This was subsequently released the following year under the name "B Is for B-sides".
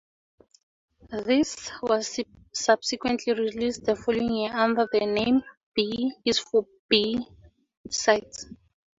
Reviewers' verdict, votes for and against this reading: rejected, 2, 4